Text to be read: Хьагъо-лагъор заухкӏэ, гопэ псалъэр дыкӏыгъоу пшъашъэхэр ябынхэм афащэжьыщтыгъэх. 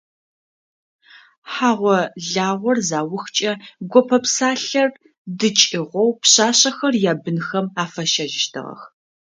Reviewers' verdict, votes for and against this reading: accepted, 2, 0